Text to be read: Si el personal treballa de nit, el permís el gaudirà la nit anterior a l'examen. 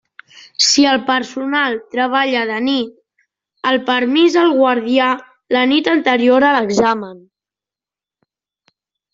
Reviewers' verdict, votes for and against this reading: rejected, 0, 2